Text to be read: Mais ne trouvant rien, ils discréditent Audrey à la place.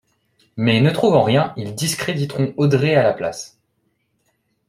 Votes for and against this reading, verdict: 0, 2, rejected